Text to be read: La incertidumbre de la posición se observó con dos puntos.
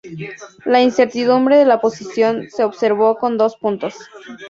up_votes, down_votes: 2, 0